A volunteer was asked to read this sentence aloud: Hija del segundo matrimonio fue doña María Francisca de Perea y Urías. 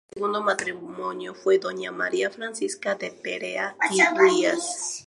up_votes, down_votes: 0, 2